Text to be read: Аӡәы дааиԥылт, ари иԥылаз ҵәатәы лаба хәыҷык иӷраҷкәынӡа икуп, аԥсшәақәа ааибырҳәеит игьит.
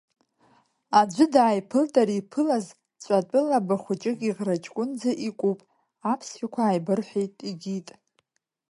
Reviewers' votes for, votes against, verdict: 2, 1, accepted